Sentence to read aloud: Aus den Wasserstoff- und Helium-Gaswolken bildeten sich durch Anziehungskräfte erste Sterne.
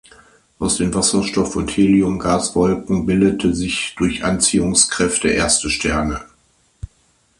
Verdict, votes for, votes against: rejected, 0, 2